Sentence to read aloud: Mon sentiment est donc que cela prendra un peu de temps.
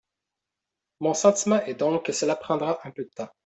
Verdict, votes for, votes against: accepted, 2, 0